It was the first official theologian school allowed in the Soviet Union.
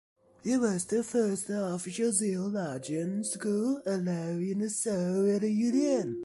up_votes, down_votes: 2, 1